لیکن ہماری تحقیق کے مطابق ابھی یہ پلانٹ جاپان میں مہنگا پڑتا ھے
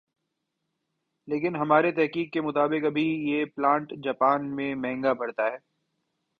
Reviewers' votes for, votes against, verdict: 2, 0, accepted